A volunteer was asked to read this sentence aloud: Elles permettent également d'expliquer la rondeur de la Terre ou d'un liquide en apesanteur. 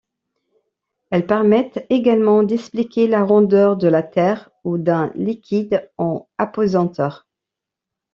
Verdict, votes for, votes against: accepted, 2, 0